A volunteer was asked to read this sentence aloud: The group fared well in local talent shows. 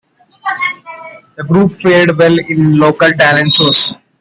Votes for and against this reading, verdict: 2, 0, accepted